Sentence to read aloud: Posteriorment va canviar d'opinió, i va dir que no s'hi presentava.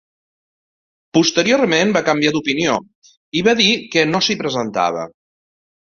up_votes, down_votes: 2, 0